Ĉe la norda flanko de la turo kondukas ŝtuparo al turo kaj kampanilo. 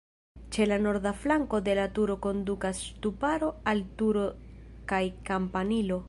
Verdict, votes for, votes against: rejected, 2, 3